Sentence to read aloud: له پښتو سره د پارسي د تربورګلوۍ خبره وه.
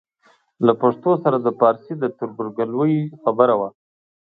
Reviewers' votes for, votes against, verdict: 2, 0, accepted